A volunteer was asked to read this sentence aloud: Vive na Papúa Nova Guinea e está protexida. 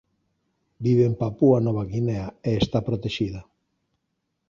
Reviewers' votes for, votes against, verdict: 1, 2, rejected